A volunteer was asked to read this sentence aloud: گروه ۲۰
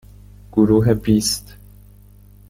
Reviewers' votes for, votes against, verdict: 0, 2, rejected